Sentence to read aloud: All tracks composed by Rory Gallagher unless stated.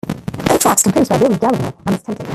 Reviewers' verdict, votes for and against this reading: rejected, 0, 2